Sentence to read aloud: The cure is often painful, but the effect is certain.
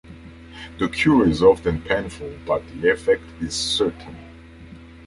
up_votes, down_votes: 2, 0